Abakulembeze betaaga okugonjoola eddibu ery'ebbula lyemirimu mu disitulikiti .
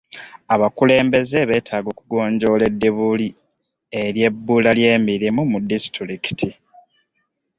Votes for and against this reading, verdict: 2, 4, rejected